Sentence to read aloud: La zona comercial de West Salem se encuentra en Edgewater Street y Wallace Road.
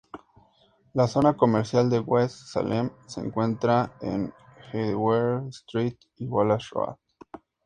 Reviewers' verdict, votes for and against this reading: rejected, 0, 2